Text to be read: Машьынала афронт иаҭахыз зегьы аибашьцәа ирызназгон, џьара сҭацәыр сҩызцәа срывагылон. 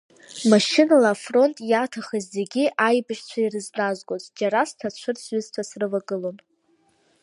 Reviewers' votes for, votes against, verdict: 2, 0, accepted